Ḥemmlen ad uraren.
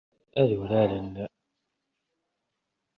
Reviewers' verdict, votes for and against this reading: rejected, 0, 2